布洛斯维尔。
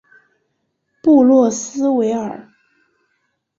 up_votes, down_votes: 2, 0